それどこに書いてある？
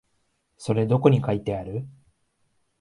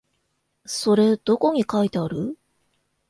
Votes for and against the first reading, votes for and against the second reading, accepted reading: 2, 0, 0, 2, first